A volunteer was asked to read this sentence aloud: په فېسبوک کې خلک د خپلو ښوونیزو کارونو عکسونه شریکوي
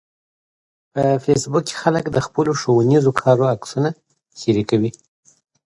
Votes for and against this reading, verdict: 2, 0, accepted